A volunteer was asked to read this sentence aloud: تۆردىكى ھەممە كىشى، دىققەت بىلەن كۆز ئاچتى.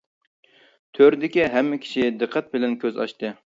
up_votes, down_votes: 2, 0